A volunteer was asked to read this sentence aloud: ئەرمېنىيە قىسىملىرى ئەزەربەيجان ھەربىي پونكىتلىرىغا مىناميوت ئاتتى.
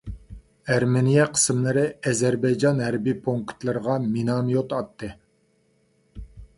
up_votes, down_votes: 2, 0